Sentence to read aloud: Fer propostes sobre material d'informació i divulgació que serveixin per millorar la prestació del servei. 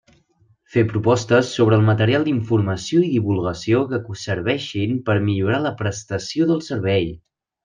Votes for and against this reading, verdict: 0, 2, rejected